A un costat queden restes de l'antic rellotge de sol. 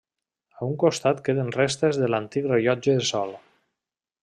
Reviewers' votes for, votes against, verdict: 1, 2, rejected